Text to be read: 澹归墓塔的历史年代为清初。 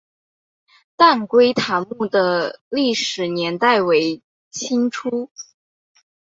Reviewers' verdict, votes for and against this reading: rejected, 0, 2